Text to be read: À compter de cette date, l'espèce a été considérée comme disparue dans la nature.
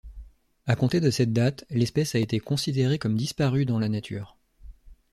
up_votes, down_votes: 2, 0